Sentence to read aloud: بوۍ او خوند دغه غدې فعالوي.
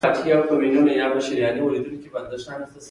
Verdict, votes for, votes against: rejected, 1, 2